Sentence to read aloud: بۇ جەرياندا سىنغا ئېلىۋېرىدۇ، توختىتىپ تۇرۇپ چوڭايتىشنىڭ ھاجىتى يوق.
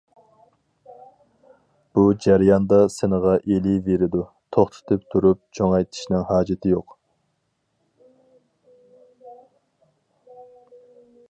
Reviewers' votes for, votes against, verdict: 2, 0, accepted